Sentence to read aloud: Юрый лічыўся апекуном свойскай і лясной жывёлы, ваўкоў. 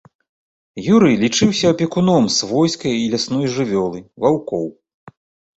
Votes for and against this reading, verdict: 3, 0, accepted